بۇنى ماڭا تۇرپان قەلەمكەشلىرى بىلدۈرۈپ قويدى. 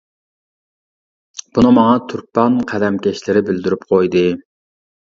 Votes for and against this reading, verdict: 2, 0, accepted